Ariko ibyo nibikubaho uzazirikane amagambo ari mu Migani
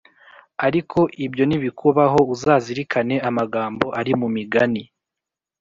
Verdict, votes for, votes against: accepted, 2, 0